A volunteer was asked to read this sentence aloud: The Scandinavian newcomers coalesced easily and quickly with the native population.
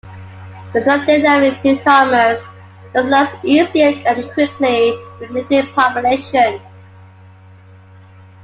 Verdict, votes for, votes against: rejected, 0, 2